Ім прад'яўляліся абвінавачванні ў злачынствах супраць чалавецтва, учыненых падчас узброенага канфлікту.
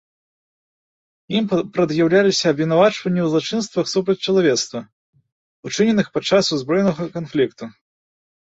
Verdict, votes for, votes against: rejected, 1, 2